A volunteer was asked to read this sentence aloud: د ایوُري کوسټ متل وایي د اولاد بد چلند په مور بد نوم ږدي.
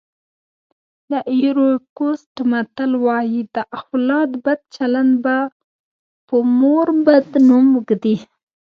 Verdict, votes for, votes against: rejected, 0, 2